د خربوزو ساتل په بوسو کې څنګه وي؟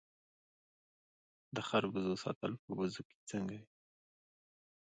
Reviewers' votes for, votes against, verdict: 1, 2, rejected